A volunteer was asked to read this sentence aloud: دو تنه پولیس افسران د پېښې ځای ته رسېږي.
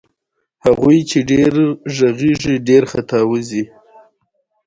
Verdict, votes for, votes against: accepted, 2, 1